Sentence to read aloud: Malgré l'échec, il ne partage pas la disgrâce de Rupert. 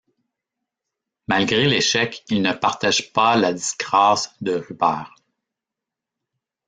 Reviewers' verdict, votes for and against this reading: rejected, 1, 2